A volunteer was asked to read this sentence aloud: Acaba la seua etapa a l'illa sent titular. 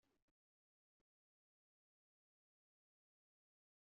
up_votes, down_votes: 0, 2